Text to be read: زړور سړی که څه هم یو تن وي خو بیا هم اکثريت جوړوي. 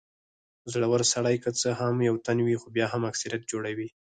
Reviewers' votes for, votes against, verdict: 0, 4, rejected